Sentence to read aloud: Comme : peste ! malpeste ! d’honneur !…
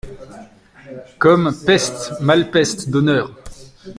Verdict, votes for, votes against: accepted, 2, 0